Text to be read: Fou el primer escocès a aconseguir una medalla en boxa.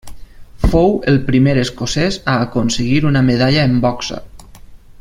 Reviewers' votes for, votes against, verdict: 2, 0, accepted